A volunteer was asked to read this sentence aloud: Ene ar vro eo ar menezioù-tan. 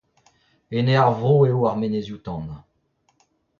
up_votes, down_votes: 0, 2